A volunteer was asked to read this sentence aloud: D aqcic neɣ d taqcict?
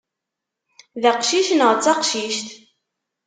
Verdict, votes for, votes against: accepted, 2, 0